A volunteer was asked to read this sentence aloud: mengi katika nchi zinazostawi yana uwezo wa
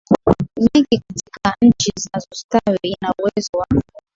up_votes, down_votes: 4, 3